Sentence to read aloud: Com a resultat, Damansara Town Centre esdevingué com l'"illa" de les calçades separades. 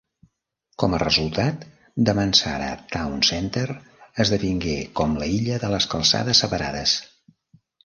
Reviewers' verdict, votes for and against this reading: rejected, 0, 2